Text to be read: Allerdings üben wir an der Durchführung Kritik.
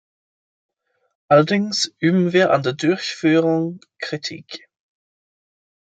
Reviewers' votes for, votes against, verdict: 2, 1, accepted